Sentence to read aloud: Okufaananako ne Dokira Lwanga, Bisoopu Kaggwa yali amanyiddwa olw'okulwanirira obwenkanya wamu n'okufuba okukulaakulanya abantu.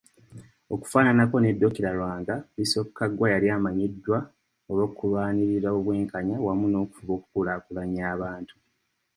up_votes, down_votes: 2, 0